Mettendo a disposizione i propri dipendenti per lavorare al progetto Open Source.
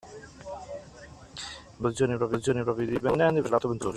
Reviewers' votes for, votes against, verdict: 0, 2, rejected